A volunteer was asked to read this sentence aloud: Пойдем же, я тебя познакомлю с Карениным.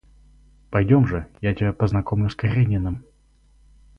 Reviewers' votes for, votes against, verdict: 4, 0, accepted